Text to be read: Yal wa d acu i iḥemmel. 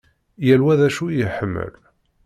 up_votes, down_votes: 2, 0